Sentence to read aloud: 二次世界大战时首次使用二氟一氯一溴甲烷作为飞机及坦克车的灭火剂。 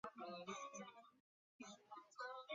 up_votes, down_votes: 2, 3